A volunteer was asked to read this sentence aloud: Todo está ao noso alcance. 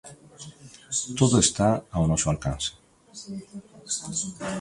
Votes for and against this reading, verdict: 2, 0, accepted